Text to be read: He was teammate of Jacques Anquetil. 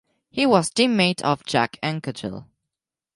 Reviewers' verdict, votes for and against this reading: accepted, 4, 0